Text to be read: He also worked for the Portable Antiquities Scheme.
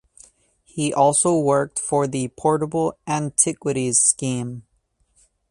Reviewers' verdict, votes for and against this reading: accepted, 4, 0